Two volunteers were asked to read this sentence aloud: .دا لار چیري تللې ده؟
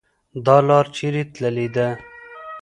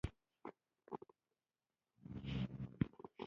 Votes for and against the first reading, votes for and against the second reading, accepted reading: 2, 0, 1, 2, first